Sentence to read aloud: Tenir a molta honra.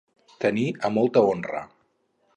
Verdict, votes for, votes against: accepted, 4, 0